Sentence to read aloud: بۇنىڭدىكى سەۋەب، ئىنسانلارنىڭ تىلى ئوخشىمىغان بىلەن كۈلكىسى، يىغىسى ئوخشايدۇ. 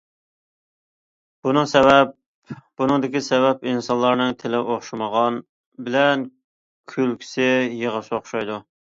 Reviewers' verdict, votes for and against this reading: rejected, 0, 2